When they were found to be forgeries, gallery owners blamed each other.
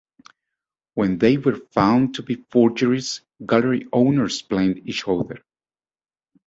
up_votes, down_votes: 2, 1